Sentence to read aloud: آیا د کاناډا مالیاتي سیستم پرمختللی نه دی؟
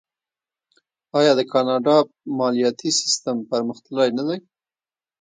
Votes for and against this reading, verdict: 2, 0, accepted